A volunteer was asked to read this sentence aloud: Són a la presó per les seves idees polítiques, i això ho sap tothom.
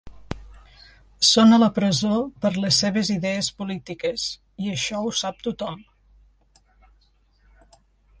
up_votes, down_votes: 3, 1